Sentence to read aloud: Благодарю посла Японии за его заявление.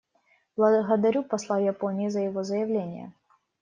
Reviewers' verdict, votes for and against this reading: rejected, 1, 2